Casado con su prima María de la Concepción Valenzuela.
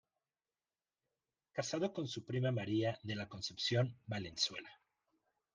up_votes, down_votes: 0, 2